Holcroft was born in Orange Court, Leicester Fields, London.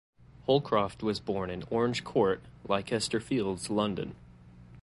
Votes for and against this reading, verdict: 2, 1, accepted